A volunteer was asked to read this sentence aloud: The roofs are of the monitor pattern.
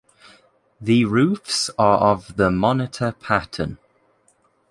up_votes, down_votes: 2, 0